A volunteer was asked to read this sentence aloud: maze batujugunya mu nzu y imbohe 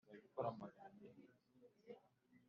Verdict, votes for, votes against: rejected, 2, 3